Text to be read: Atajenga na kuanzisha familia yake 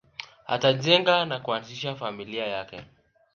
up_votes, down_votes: 0, 2